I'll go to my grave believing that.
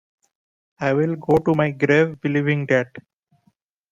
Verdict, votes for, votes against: rejected, 0, 2